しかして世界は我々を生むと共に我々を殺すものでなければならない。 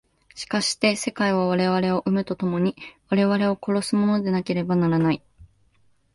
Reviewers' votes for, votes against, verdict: 15, 1, accepted